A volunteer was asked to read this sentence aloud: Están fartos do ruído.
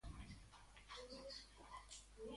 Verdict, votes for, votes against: rejected, 0, 2